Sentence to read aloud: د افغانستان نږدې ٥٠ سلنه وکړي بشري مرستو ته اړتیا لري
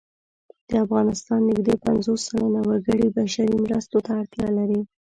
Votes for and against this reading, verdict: 0, 2, rejected